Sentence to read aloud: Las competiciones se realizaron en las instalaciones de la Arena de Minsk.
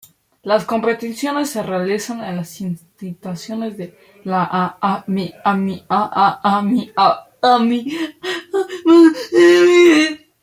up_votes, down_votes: 0, 2